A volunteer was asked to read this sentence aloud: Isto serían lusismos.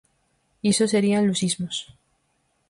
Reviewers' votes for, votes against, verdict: 0, 4, rejected